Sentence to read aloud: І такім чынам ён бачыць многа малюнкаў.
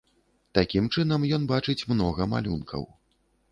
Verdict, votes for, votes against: rejected, 0, 2